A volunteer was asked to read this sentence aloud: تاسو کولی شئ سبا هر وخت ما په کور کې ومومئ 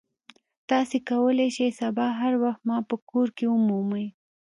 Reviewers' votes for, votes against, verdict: 2, 0, accepted